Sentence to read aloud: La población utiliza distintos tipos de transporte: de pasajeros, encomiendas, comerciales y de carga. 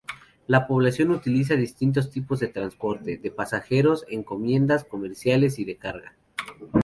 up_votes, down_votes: 4, 0